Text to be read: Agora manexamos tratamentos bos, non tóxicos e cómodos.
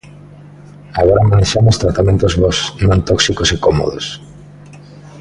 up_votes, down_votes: 2, 0